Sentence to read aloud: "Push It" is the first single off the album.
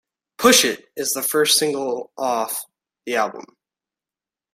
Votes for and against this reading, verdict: 2, 0, accepted